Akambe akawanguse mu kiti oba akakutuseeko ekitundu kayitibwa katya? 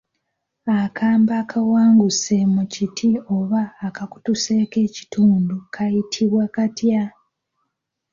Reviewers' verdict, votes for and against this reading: accepted, 2, 0